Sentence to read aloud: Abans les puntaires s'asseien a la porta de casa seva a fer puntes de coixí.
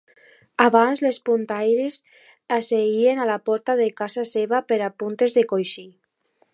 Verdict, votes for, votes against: accepted, 2, 0